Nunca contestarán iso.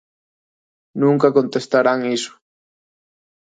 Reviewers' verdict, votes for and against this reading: accepted, 2, 0